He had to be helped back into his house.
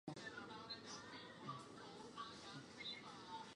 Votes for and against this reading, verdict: 0, 2, rejected